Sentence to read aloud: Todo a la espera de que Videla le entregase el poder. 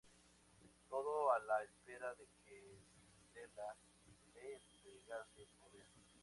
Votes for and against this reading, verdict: 2, 0, accepted